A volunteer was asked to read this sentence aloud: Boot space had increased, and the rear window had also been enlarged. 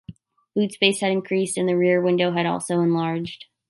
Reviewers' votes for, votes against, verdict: 1, 2, rejected